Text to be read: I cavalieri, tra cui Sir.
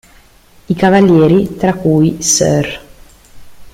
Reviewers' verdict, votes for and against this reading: accepted, 2, 0